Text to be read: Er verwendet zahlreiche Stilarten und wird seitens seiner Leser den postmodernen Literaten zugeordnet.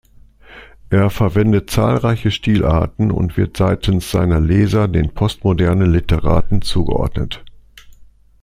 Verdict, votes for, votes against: accepted, 2, 0